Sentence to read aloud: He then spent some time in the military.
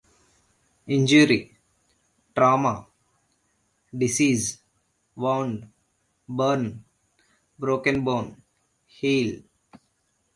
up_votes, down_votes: 0, 2